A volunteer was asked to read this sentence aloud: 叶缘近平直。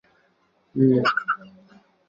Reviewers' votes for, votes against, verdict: 0, 4, rejected